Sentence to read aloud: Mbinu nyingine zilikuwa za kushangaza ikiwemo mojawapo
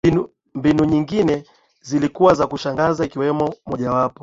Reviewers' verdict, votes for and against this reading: accepted, 2, 0